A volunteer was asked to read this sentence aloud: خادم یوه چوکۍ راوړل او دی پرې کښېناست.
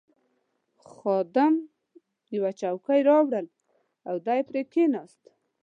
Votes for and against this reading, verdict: 2, 0, accepted